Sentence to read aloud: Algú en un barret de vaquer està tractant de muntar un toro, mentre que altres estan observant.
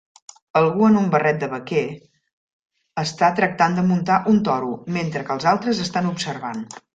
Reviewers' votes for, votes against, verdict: 1, 2, rejected